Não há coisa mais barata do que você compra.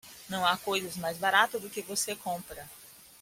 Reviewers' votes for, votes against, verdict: 0, 2, rejected